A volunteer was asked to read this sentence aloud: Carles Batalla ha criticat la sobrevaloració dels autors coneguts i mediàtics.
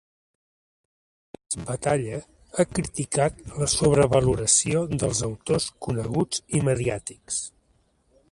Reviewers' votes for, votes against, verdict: 1, 2, rejected